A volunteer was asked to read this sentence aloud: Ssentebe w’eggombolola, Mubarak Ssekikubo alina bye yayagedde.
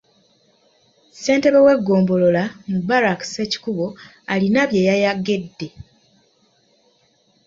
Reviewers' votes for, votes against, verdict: 2, 1, accepted